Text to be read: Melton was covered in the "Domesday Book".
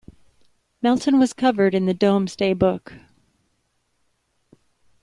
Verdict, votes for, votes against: accepted, 2, 1